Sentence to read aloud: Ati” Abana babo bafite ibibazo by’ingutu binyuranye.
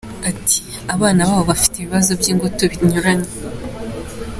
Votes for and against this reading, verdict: 2, 0, accepted